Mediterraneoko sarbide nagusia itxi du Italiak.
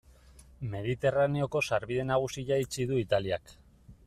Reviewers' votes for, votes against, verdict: 2, 0, accepted